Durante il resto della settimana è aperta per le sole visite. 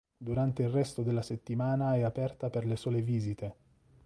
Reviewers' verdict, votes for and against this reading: accepted, 2, 0